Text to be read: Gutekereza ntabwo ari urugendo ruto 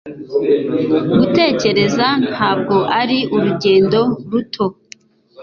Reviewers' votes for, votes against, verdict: 2, 0, accepted